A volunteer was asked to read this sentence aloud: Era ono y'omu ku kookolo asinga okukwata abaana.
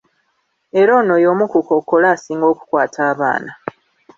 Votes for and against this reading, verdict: 3, 0, accepted